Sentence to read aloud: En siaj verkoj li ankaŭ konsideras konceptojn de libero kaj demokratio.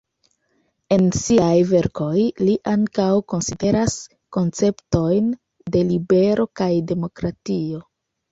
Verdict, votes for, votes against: accepted, 2, 0